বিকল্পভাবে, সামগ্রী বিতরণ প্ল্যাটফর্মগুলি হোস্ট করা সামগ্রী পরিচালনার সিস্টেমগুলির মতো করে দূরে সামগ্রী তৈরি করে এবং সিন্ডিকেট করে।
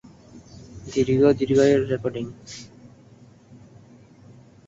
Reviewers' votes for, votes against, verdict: 0, 7, rejected